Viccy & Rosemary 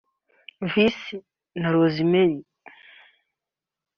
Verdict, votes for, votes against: accepted, 2, 0